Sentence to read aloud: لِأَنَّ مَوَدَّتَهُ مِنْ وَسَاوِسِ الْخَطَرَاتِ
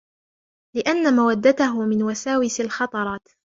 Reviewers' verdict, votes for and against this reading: rejected, 0, 2